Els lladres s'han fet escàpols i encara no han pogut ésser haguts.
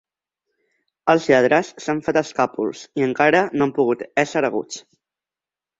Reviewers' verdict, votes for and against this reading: accepted, 2, 0